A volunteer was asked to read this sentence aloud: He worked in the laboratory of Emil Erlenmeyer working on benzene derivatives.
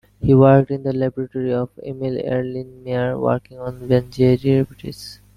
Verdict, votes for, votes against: rejected, 0, 2